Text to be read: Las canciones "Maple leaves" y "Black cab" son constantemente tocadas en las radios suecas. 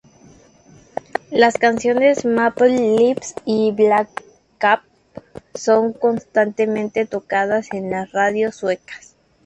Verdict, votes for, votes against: rejected, 0, 2